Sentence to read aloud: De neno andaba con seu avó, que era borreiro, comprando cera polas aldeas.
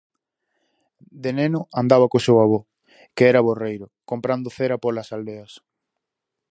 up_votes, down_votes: 2, 2